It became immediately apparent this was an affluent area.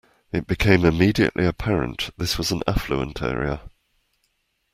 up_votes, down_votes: 2, 0